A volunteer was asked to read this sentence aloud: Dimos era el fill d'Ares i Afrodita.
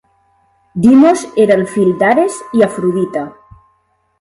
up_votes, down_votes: 0, 2